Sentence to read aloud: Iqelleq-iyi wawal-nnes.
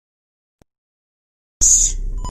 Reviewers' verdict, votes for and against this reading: rejected, 0, 2